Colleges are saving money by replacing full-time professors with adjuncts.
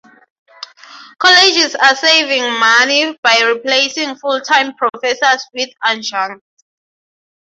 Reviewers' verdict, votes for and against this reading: accepted, 6, 0